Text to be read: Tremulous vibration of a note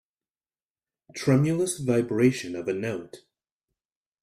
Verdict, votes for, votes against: accepted, 2, 0